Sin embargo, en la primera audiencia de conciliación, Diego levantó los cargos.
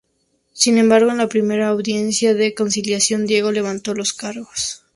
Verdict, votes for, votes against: accepted, 2, 0